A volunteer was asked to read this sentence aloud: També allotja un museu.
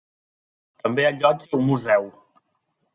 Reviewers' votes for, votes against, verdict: 2, 3, rejected